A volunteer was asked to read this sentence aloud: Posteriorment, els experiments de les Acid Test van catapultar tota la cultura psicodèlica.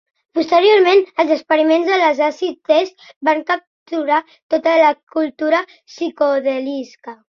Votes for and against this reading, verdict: 0, 3, rejected